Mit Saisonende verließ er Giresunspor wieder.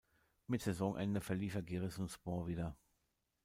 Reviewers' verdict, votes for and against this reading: rejected, 1, 2